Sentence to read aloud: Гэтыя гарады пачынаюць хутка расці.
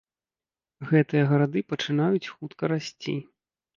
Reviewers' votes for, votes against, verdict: 2, 0, accepted